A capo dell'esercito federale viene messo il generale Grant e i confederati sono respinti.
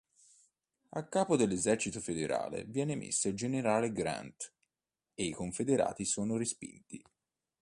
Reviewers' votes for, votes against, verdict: 2, 0, accepted